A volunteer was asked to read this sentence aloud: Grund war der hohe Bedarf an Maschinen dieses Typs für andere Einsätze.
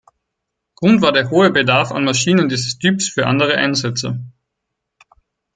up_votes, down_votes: 4, 0